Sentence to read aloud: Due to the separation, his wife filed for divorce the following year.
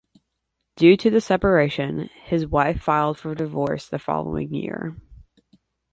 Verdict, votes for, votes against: accepted, 2, 0